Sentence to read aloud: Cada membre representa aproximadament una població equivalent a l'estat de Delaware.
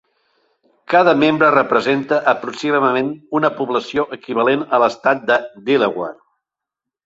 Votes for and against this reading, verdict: 4, 0, accepted